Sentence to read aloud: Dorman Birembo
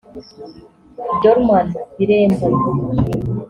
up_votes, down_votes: 2, 0